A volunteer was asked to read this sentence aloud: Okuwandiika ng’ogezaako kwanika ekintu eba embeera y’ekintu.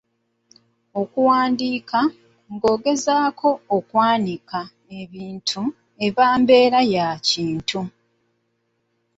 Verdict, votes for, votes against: rejected, 0, 3